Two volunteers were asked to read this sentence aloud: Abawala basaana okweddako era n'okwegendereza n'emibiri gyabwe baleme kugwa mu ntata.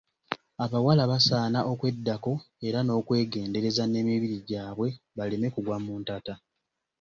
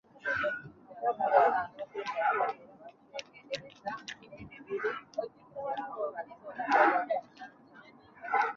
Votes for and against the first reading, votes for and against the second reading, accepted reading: 2, 0, 0, 2, first